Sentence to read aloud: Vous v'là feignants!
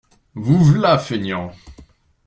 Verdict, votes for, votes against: accepted, 2, 0